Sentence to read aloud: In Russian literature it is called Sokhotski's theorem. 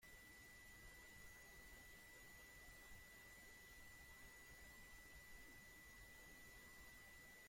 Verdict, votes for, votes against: rejected, 0, 2